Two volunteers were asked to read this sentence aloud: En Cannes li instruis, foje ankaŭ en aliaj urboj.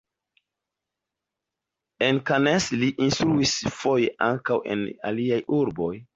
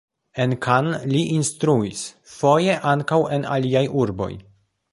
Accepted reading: first